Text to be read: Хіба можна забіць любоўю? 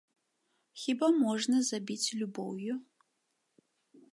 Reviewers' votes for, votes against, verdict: 2, 1, accepted